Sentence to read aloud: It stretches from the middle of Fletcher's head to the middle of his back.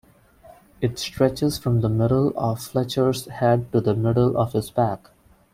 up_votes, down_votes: 2, 0